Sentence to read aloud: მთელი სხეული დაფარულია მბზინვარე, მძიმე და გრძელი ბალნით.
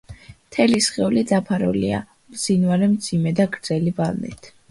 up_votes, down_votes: 2, 0